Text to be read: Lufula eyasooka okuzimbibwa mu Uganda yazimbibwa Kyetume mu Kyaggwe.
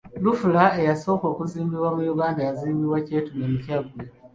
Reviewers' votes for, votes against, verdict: 2, 0, accepted